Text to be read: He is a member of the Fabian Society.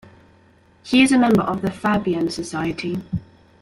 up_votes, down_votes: 1, 2